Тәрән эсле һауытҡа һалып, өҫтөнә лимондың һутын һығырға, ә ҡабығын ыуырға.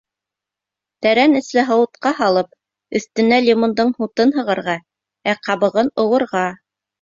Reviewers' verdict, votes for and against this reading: rejected, 0, 2